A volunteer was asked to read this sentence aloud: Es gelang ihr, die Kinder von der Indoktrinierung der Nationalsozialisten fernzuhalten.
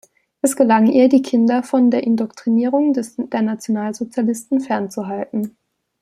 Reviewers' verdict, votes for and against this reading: rejected, 1, 2